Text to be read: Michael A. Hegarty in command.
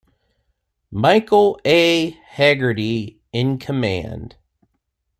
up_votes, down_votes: 2, 0